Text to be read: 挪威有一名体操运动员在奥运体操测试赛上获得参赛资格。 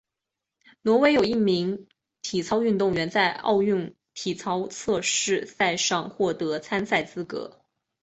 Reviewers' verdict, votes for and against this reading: accepted, 3, 1